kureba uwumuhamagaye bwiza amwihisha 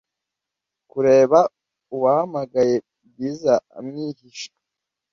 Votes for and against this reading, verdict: 1, 2, rejected